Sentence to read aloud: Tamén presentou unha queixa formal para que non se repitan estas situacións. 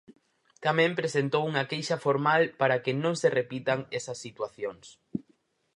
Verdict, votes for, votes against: rejected, 0, 4